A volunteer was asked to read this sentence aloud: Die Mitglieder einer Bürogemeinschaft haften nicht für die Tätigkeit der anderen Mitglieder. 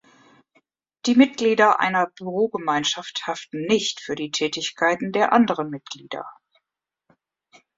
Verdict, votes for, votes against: rejected, 1, 2